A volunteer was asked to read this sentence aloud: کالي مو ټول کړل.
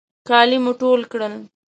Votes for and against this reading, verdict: 2, 0, accepted